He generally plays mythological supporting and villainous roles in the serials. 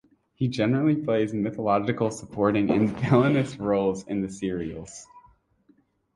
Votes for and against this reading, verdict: 3, 6, rejected